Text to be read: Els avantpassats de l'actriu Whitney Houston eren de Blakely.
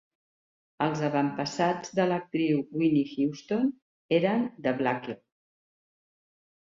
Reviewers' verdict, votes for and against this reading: rejected, 3, 4